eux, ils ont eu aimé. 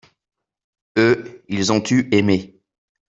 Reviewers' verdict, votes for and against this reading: accepted, 2, 0